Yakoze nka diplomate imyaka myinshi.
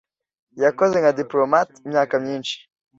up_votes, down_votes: 2, 0